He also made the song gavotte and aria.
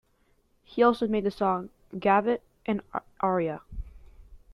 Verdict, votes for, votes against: accepted, 2, 1